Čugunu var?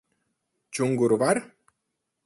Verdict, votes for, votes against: rejected, 0, 4